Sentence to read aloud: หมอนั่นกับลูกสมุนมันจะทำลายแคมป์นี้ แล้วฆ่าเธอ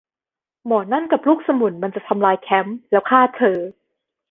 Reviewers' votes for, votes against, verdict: 1, 2, rejected